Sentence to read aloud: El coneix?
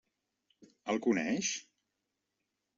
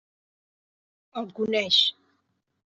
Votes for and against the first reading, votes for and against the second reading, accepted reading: 3, 0, 1, 2, first